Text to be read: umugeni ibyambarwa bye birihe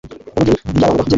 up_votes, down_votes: 1, 2